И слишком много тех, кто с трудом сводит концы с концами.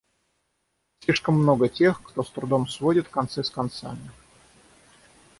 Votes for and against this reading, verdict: 0, 6, rejected